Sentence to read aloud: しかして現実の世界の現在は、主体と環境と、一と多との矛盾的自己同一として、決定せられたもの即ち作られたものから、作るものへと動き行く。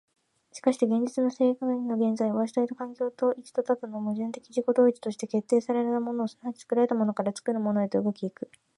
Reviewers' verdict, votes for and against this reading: accepted, 2, 0